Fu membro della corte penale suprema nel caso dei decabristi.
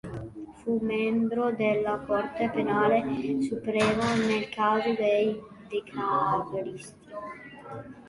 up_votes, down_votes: 2, 3